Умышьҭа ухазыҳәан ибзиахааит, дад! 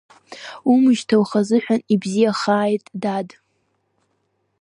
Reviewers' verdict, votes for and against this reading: accepted, 2, 0